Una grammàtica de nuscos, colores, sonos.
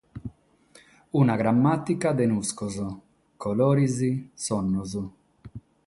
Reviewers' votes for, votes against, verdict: 0, 6, rejected